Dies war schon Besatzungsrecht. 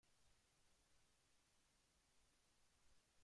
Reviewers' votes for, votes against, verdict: 0, 2, rejected